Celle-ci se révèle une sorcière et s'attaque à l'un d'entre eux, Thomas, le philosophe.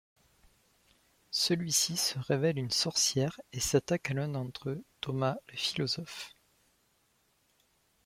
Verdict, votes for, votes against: rejected, 0, 2